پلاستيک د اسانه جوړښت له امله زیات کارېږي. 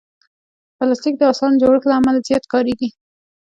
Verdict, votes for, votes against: rejected, 0, 2